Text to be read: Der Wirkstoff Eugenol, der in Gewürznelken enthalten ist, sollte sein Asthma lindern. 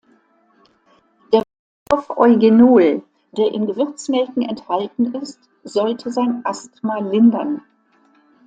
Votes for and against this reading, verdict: 0, 2, rejected